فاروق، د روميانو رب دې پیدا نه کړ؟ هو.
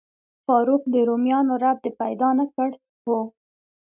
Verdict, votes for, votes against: accepted, 2, 0